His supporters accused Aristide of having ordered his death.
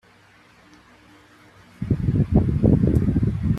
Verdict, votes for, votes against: rejected, 0, 2